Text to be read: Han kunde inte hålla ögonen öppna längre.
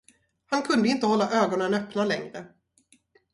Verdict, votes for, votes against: accepted, 2, 0